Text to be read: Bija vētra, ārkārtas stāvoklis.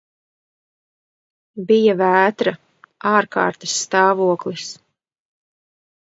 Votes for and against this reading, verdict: 3, 0, accepted